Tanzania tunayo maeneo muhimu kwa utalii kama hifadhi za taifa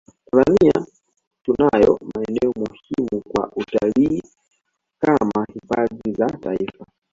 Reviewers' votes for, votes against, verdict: 1, 2, rejected